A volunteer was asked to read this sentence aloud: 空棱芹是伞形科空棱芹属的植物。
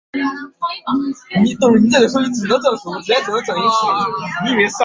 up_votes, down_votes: 0, 2